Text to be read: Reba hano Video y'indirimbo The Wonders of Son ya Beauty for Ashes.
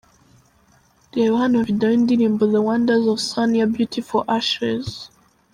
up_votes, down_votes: 1, 2